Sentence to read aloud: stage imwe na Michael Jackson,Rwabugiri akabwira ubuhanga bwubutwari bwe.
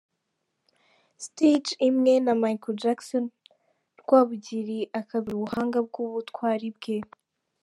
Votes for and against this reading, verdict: 2, 3, rejected